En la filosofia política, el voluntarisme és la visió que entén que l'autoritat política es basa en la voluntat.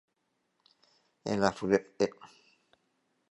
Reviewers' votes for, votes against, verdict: 0, 3, rejected